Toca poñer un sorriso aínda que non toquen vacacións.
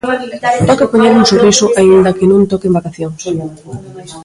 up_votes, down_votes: 0, 2